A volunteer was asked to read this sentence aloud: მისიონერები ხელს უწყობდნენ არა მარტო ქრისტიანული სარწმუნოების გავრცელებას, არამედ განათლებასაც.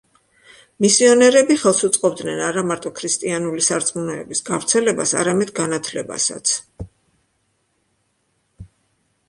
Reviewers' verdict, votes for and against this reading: accepted, 3, 0